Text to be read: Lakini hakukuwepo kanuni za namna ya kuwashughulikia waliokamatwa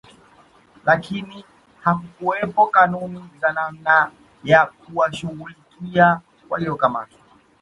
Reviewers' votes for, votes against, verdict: 1, 2, rejected